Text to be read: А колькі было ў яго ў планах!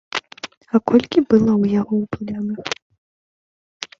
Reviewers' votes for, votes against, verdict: 0, 2, rejected